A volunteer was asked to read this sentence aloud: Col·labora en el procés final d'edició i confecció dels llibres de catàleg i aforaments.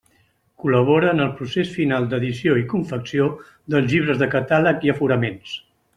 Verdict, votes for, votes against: accepted, 2, 1